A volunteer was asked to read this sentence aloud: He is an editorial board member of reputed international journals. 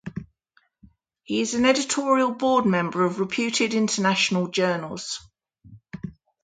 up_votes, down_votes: 2, 0